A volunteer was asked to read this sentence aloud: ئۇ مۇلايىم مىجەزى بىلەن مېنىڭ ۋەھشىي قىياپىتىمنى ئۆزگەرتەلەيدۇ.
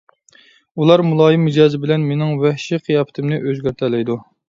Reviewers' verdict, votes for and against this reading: rejected, 0, 2